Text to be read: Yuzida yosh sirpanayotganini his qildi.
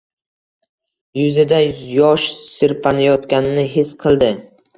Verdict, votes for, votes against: rejected, 1, 2